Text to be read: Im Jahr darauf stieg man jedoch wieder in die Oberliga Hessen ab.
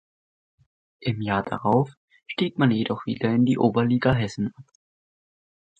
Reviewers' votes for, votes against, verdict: 0, 4, rejected